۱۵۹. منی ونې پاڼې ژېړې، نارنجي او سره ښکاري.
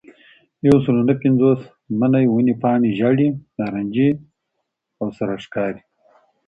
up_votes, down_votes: 0, 2